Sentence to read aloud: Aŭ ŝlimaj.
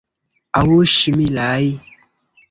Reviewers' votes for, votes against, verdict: 2, 1, accepted